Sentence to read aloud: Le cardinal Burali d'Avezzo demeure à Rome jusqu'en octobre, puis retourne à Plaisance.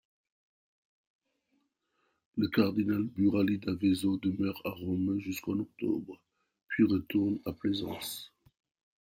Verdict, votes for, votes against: accepted, 2, 0